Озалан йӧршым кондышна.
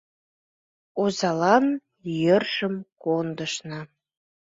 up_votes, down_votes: 2, 0